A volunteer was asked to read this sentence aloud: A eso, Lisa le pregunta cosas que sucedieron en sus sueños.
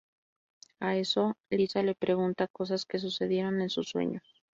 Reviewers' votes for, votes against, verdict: 2, 2, rejected